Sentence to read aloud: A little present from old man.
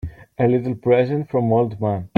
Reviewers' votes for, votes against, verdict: 2, 0, accepted